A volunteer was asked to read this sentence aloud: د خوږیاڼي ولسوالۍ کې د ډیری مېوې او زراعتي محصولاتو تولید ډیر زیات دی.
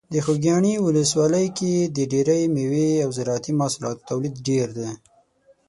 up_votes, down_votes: 3, 6